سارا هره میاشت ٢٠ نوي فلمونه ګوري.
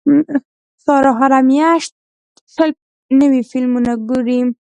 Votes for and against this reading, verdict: 0, 2, rejected